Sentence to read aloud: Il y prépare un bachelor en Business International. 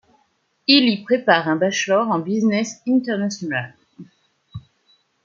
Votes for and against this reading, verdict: 2, 0, accepted